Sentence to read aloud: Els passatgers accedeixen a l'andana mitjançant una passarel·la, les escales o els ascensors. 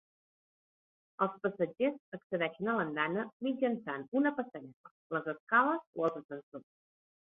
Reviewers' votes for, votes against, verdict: 1, 2, rejected